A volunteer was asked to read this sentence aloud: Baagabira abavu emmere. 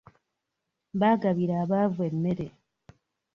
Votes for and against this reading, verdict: 2, 0, accepted